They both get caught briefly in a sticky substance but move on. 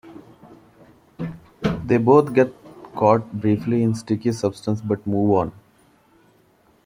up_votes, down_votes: 0, 2